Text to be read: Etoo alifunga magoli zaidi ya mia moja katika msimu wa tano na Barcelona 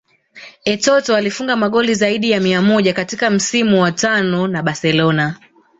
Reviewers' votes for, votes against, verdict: 0, 2, rejected